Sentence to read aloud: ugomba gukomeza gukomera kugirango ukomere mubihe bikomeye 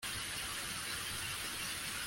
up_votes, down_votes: 0, 2